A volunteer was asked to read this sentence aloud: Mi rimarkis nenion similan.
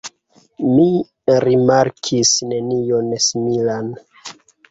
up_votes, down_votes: 2, 0